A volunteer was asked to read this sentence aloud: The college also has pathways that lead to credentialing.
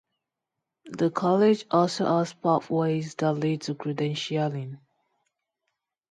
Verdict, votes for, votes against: accepted, 2, 0